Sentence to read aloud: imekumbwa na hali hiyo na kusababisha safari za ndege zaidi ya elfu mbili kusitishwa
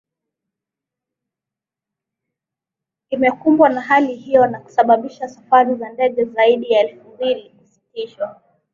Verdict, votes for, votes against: rejected, 0, 2